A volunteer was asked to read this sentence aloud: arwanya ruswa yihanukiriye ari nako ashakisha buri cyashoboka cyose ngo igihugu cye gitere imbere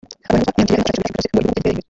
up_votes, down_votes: 0, 2